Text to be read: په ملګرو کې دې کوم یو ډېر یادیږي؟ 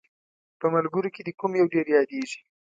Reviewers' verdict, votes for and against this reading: accepted, 2, 0